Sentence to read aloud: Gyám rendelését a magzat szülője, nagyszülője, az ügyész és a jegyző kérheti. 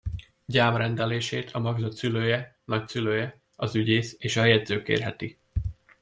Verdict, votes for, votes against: accepted, 2, 0